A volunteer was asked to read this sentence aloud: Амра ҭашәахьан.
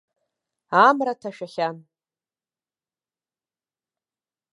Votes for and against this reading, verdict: 1, 2, rejected